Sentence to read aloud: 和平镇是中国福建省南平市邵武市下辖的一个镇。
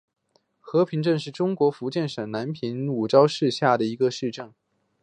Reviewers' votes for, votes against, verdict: 2, 0, accepted